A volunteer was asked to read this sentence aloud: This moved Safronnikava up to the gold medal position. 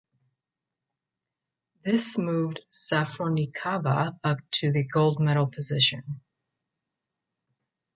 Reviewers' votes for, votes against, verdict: 2, 0, accepted